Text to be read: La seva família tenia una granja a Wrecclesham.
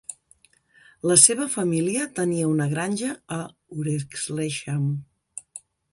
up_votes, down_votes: 1, 2